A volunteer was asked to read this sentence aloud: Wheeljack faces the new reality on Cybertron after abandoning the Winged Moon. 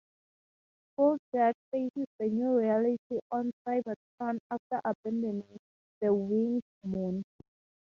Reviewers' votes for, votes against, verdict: 0, 2, rejected